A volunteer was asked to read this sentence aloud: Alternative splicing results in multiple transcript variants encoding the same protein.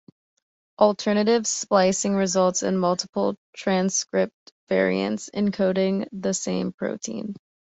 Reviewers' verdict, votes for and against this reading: accepted, 2, 0